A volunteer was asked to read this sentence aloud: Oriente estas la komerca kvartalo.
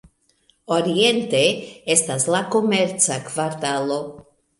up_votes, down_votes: 2, 0